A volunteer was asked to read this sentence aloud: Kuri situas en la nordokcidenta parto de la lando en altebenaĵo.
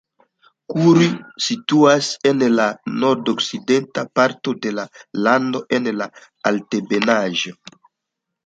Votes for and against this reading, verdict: 2, 1, accepted